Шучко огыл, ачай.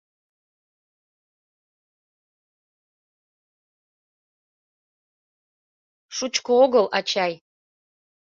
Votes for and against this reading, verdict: 2, 1, accepted